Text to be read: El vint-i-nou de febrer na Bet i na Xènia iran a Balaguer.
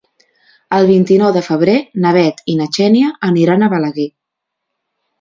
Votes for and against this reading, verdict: 0, 2, rejected